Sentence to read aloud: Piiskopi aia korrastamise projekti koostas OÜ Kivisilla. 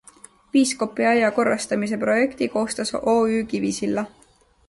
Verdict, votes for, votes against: accepted, 2, 0